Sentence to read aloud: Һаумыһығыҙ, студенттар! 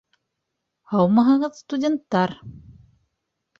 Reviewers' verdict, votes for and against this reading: accepted, 3, 0